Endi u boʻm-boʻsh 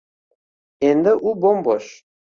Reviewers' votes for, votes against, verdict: 2, 0, accepted